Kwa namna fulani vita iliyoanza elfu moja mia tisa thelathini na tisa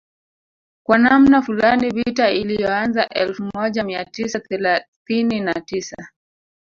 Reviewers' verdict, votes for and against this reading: rejected, 0, 2